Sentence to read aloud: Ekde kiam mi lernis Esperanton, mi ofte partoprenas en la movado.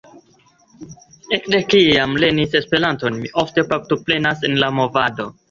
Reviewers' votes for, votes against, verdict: 0, 2, rejected